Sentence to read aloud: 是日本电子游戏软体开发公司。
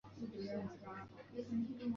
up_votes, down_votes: 0, 4